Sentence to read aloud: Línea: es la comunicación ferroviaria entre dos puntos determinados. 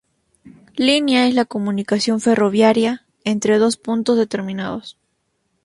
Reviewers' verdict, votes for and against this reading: accepted, 2, 0